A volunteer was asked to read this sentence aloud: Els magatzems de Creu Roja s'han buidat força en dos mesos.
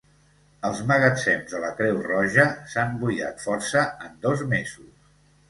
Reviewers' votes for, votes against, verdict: 1, 2, rejected